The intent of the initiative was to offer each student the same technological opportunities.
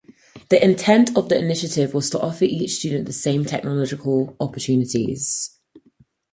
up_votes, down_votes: 4, 0